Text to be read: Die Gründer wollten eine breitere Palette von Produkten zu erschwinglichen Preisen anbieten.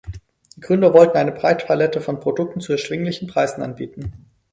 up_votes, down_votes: 4, 2